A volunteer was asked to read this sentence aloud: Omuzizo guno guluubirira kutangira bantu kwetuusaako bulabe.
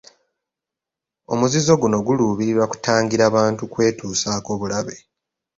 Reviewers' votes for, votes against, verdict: 2, 0, accepted